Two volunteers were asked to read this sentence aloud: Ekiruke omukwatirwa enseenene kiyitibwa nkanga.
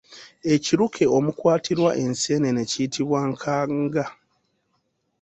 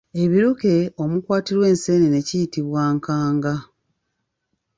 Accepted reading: first